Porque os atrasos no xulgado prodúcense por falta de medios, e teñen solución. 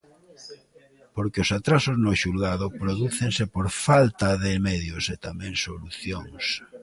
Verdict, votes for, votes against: rejected, 0, 2